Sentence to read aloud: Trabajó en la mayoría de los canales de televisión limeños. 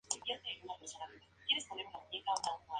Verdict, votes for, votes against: accepted, 2, 0